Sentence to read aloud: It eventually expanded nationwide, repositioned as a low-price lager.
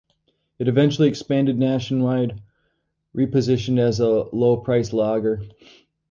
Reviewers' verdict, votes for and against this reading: accepted, 2, 0